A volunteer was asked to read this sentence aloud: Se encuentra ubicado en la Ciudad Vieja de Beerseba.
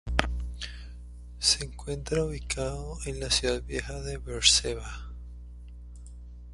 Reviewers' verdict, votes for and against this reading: rejected, 0, 2